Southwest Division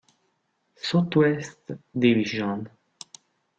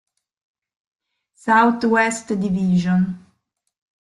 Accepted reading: second